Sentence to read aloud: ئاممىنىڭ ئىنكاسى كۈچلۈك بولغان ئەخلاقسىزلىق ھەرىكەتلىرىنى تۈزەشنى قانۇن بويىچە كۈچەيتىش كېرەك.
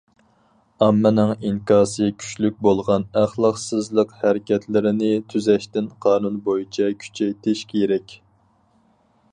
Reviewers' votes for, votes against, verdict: 0, 4, rejected